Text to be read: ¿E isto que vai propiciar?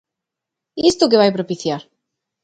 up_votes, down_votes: 2, 1